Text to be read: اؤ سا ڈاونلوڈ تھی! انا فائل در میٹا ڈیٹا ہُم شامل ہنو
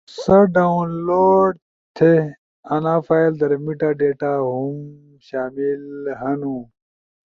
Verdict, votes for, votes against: accepted, 2, 0